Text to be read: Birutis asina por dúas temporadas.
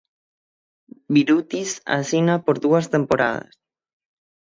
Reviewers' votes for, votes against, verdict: 0, 6, rejected